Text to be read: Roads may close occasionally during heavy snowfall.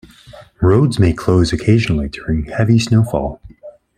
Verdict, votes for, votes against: accepted, 2, 0